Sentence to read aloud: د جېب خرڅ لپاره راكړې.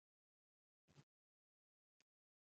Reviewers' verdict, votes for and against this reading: rejected, 0, 2